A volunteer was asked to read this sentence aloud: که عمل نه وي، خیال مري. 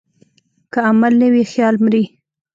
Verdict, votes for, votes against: rejected, 1, 2